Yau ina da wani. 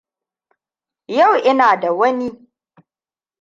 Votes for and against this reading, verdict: 2, 0, accepted